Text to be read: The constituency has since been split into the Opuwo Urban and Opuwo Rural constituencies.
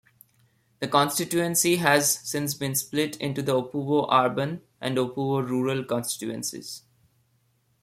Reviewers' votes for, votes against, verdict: 2, 0, accepted